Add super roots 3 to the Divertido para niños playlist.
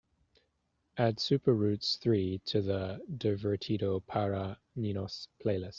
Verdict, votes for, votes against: rejected, 0, 2